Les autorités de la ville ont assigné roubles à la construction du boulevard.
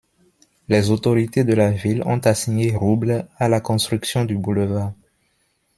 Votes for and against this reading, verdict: 2, 0, accepted